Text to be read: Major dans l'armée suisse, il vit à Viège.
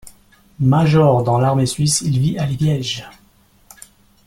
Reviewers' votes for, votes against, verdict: 0, 3, rejected